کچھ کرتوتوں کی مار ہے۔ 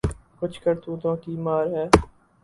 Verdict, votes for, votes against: rejected, 0, 2